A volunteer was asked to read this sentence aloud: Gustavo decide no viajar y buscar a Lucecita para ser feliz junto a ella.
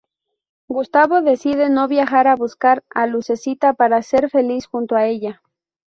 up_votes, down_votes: 0, 2